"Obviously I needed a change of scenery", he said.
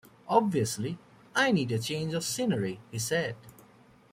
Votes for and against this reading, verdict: 1, 2, rejected